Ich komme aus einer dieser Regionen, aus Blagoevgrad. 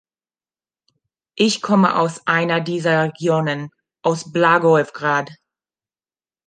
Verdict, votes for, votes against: rejected, 1, 2